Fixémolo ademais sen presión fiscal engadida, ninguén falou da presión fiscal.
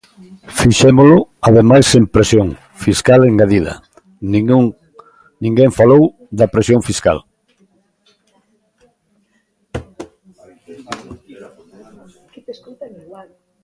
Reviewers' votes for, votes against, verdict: 0, 2, rejected